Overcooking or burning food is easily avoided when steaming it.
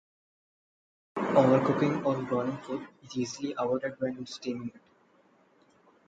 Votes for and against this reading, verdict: 0, 2, rejected